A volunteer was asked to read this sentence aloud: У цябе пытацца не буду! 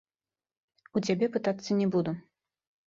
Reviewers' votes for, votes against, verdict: 2, 1, accepted